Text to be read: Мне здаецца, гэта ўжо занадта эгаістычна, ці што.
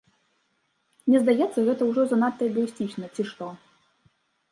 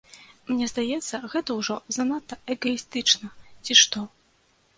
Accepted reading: second